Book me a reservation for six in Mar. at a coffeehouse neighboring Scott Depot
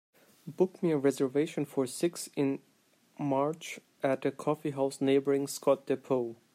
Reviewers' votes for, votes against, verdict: 0, 2, rejected